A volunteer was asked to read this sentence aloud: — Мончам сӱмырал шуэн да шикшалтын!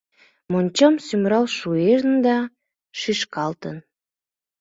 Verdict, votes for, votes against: rejected, 0, 2